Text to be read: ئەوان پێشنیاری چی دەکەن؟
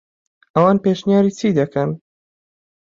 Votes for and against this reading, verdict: 2, 0, accepted